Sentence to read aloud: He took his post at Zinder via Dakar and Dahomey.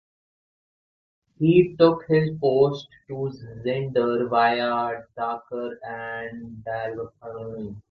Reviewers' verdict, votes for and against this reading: rejected, 0, 2